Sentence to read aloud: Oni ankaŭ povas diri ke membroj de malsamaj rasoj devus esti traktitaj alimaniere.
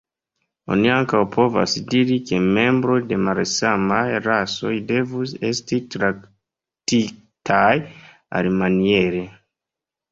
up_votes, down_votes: 1, 2